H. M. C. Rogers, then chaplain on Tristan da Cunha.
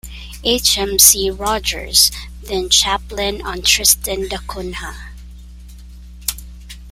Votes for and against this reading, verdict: 2, 0, accepted